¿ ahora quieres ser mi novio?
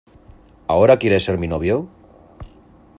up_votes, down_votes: 2, 0